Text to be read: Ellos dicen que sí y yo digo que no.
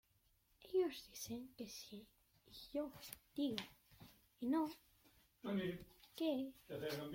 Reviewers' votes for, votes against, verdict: 0, 2, rejected